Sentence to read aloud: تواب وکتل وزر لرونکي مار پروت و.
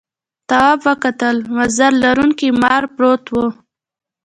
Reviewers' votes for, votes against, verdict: 1, 2, rejected